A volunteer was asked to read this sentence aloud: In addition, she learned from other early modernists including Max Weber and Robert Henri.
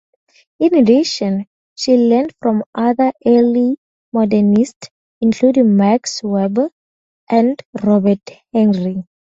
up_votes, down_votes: 2, 0